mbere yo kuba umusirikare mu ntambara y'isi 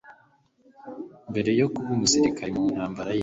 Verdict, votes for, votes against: accepted, 2, 0